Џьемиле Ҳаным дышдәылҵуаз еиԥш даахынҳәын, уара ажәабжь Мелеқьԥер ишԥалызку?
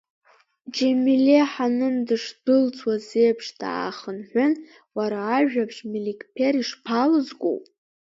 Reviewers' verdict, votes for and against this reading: rejected, 1, 2